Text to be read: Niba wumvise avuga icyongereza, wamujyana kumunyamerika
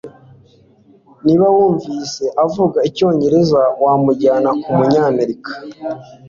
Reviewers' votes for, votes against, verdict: 2, 0, accepted